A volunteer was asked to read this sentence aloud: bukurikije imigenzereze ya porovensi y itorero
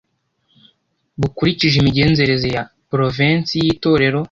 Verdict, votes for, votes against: accepted, 2, 0